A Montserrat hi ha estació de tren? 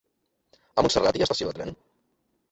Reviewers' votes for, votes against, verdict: 1, 2, rejected